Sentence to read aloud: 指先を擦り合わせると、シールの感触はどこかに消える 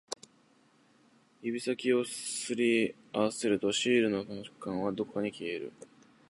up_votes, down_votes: 0, 2